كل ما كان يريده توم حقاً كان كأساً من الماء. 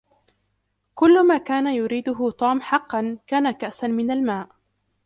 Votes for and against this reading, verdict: 1, 2, rejected